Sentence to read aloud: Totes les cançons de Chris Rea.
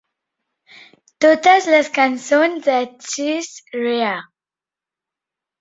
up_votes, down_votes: 1, 2